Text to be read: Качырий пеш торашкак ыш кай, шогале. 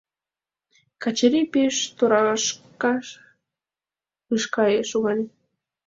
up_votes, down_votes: 1, 3